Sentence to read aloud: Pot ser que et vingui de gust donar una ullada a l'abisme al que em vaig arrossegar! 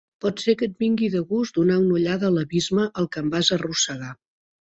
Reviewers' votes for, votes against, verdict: 0, 2, rejected